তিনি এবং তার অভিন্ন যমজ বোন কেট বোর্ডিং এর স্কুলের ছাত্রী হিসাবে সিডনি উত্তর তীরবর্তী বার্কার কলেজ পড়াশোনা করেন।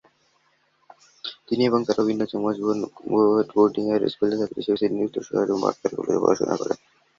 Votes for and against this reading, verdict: 2, 4, rejected